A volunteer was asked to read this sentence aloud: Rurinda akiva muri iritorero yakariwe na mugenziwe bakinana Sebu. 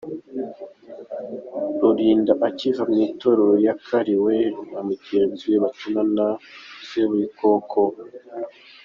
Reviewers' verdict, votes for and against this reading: accepted, 3, 1